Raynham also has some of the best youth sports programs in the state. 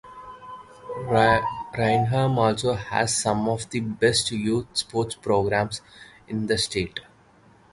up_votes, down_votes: 0, 2